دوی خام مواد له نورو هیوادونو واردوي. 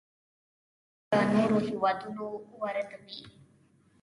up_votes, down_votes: 0, 2